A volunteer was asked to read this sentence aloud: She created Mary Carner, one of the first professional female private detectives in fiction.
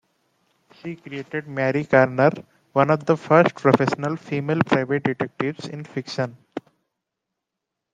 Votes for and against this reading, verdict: 1, 2, rejected